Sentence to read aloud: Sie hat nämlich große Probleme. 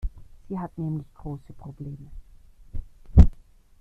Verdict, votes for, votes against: accepted, 2, 0